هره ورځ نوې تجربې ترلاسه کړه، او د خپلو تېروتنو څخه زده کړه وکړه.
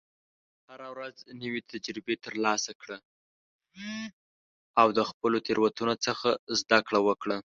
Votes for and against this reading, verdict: 3, 5, rejected